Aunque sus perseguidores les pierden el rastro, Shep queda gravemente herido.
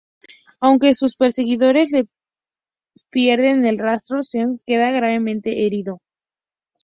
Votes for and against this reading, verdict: 2, 0, accepted